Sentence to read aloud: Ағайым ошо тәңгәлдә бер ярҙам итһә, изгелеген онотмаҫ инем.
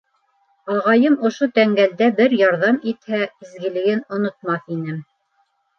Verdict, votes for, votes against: accepted, 2, 0